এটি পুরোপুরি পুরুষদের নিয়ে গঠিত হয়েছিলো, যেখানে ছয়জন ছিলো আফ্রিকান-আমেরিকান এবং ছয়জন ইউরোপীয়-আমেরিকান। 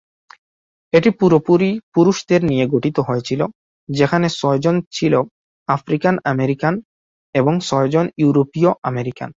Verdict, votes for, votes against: accepted, 2, 0